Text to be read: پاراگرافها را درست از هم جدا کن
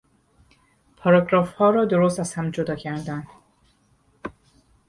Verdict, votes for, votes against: rejected, 2, 4